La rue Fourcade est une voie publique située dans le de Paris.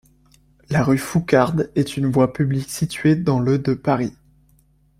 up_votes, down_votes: 2, 1